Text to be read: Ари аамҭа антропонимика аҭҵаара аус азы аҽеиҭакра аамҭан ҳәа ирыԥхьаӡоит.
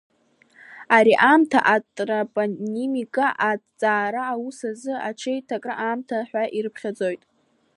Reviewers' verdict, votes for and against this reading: rejected, 1, 2